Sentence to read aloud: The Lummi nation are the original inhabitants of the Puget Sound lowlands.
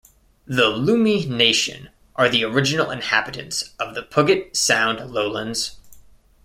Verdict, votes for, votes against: rejected, 0, 2